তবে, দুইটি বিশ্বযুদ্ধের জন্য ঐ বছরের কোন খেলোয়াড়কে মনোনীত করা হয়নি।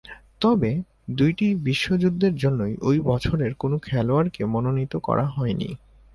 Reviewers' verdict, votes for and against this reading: accepted, 11, 1